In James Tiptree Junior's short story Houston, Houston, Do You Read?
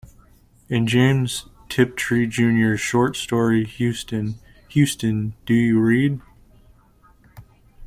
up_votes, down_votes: 2, 0